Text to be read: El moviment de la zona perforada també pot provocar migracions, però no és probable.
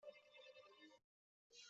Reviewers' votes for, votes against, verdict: 0, 2, rejected